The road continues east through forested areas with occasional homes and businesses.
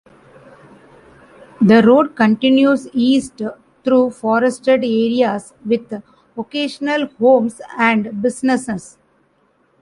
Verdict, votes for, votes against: rejected, 0, 2